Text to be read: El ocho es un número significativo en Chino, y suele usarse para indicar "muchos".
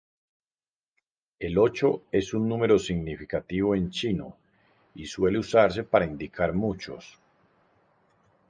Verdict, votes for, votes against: accepted, 2, 0